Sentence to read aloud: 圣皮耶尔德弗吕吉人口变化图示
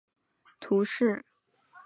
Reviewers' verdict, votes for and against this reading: rejected, 1, 2